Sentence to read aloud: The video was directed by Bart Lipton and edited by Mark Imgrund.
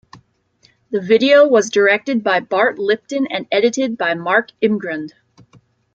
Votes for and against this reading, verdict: 2, 0, accepted